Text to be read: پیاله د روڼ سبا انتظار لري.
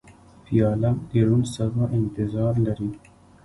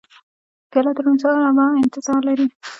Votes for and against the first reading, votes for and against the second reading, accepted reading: 2, 1, 0, 2, first